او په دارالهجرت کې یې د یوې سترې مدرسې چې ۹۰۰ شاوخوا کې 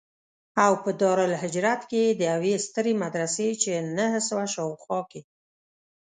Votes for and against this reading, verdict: 0, 2, rejected